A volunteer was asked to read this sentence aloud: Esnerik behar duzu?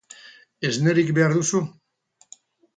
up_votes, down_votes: 2, 0